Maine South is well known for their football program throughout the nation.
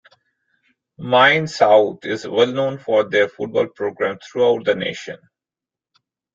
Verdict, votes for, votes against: rejected, 0, 2